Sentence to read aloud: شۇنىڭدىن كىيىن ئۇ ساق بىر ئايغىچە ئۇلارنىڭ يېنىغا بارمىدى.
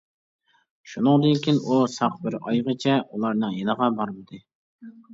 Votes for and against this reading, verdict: 2, 0, accepted